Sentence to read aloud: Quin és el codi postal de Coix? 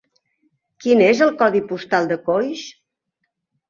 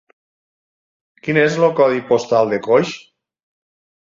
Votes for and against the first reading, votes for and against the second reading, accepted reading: 3, 0, 2, 6, first